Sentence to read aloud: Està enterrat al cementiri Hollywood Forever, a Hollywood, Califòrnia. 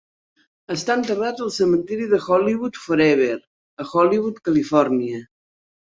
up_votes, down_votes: 0, 2